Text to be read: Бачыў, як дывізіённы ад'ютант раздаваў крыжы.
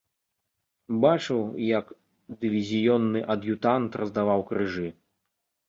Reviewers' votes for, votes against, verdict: 2, 0, accepted